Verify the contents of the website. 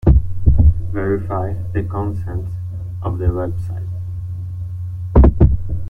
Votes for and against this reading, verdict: 2, 0, accepted